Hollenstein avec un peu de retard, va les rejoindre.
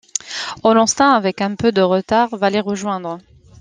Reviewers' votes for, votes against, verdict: 2, 0, accepted